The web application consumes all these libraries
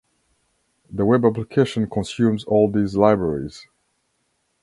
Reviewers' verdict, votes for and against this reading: accepted, 2, 0